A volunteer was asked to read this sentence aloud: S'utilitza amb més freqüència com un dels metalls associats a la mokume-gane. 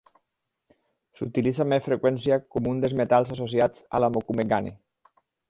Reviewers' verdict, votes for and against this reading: accepted, 4, 0